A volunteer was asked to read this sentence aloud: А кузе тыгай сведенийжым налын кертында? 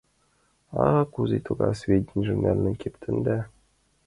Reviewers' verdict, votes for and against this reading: rejected, 1, 2